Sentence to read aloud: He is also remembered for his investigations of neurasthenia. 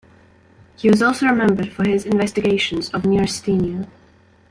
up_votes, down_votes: 2, 1